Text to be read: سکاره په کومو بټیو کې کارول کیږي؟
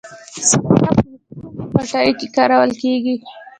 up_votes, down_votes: 1, 2